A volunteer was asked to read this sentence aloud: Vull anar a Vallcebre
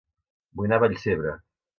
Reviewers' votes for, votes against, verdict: 1, 2, rejected